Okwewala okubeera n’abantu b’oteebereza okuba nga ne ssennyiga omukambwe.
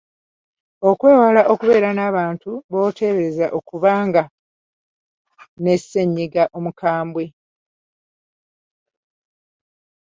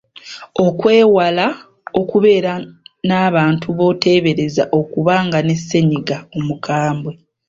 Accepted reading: second